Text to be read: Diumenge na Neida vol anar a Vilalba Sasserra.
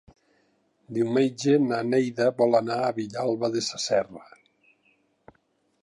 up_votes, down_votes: 1, 2